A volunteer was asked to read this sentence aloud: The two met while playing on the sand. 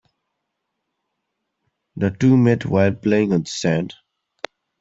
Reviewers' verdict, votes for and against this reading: rejected, 1, 2